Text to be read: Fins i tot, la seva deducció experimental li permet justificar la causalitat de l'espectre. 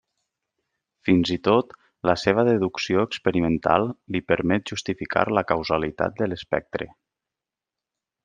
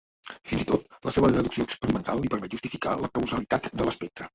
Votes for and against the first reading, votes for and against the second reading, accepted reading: 3, 0, 0, 2, first